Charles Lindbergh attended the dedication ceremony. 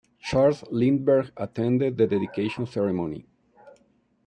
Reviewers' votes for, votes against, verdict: 2, 0, accepted